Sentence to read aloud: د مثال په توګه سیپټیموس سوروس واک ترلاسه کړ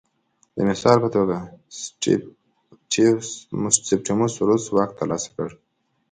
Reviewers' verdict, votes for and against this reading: rejected, 1, 2